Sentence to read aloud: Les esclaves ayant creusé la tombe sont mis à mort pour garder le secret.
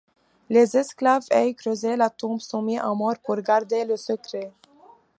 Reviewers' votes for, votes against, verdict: 0, 3, rejected